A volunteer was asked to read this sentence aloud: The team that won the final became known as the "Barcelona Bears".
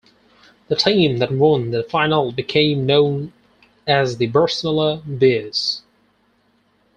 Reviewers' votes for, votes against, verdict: 0, 4, rejected